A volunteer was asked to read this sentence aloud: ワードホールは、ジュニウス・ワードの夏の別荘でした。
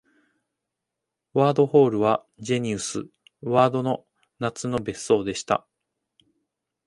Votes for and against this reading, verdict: 1, 2, rejected